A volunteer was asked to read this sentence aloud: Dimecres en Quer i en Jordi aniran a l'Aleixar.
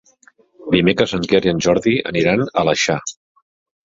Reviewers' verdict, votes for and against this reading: rejected, 1, 2